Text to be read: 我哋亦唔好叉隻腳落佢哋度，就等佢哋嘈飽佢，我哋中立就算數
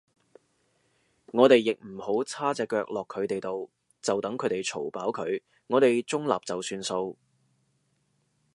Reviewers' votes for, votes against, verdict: 2, 0, accepted